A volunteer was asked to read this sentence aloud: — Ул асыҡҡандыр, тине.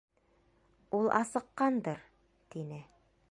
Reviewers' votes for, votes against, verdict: 2, 0, accepted